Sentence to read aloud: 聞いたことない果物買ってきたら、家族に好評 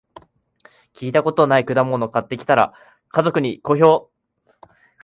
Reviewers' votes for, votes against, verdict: 4, 0, accepted